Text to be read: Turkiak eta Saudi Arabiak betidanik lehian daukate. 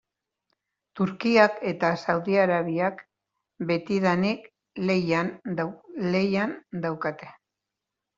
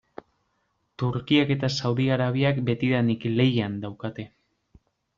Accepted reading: second